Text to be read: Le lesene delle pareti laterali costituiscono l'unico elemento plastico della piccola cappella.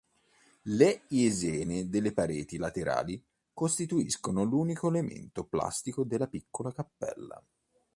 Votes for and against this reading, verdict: 1, 3, rejected